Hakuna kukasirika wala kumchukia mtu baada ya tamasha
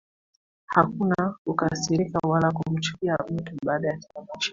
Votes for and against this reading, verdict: 2, 1, accepted